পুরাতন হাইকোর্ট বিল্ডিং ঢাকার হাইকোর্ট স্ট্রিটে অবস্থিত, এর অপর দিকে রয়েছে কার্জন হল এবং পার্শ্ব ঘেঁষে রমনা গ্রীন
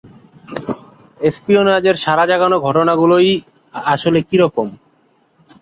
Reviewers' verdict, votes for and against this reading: rejected, 1, 8